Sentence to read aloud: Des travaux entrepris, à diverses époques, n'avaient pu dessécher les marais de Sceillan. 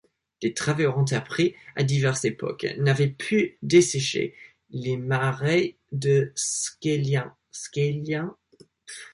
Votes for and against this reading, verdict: 0, 2, rejected